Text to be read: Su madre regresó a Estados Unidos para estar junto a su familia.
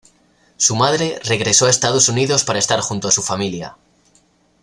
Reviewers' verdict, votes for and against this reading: accepted, 2, 0